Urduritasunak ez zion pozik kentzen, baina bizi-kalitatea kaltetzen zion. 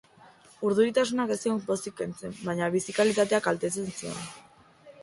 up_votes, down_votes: 2, 0